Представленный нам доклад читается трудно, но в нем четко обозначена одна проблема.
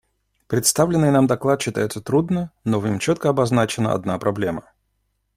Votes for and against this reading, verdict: 2, 0, accepted